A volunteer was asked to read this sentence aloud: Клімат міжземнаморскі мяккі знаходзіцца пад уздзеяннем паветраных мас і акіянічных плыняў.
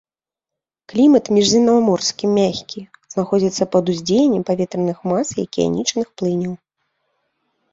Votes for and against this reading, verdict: 2, 0, accepted